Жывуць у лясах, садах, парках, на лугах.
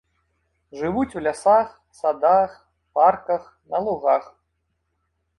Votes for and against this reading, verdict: 2, 0, accepted